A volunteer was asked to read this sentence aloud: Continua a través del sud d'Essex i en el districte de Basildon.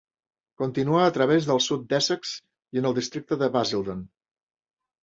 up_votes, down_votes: 3, 0